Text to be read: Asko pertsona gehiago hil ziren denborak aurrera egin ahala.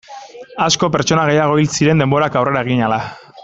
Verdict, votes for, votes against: accepted, 2, 0